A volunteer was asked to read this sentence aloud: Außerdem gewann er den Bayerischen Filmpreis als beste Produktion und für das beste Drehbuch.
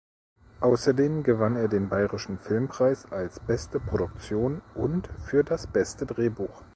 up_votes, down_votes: 2, 0